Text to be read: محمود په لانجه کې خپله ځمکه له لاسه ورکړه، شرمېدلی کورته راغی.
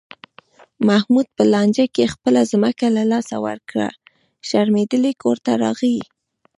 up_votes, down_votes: 1, 2